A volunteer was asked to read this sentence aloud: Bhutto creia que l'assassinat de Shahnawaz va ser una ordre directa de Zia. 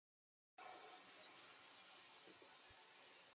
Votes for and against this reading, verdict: 0, 2, rejected